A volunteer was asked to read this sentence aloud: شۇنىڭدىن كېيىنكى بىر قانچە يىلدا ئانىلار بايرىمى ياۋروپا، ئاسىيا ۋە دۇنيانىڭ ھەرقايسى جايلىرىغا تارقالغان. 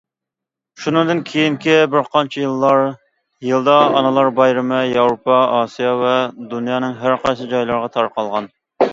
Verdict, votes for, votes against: rejected, 1, 2